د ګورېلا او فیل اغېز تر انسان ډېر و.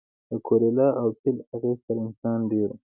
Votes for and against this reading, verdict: 1, 2, rejected